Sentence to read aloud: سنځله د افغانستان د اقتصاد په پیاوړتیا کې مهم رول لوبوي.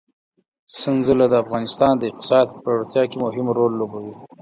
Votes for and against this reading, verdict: 4, 0, accepted